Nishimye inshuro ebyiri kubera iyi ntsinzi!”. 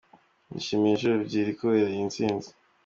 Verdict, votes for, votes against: accepted, 2, 0